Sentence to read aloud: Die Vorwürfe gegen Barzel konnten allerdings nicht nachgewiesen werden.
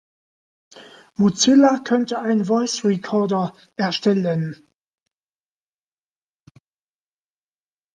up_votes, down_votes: 1, 2